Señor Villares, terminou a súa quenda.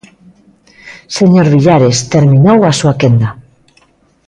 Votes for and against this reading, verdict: 2, 0, accepted